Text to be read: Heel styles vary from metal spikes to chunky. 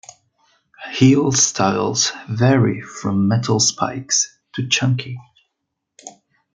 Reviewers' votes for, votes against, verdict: 2, 0, accepted